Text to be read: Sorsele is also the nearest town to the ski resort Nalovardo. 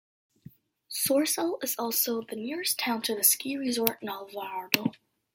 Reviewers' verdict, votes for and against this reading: accepted, 2, 0